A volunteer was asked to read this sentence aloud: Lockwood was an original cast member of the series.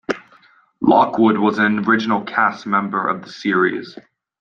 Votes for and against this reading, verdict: 2, 0, accepted